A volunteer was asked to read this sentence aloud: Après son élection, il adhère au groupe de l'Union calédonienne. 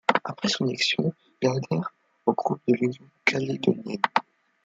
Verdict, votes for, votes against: rejected, 0, 2